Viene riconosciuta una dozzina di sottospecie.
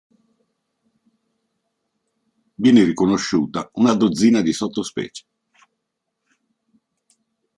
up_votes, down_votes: 4, 0